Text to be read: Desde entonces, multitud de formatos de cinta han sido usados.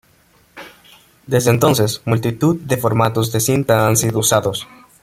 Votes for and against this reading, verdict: 2, 0, accepted